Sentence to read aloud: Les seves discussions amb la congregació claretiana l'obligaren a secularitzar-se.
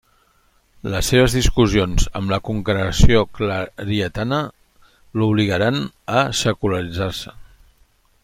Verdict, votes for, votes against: rejected, 1, 2